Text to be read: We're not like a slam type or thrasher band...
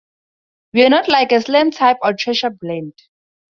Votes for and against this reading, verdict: 0, 2, rejected